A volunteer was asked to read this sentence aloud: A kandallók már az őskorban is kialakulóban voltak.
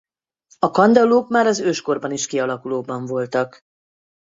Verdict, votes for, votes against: accepted, 4, 0